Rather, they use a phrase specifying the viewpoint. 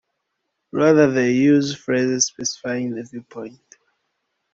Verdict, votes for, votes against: rejected, 0, 2